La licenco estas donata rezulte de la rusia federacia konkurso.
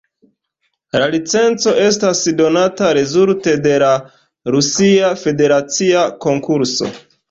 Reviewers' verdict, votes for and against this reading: rejected, 0, 4